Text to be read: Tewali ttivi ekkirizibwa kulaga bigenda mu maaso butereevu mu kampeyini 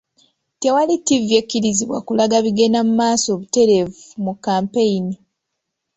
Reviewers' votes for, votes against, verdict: 2, 0, accepted